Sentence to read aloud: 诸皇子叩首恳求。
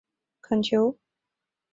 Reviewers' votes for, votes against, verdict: 0, 2, rejected